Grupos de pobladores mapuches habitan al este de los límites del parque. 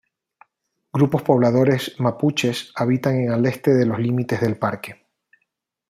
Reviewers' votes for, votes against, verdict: 0, 2, rejected